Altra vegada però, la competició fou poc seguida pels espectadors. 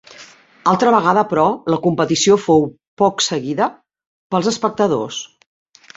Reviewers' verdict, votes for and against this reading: accepted, 4, 0